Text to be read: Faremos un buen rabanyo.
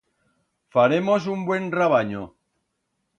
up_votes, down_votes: 2, 0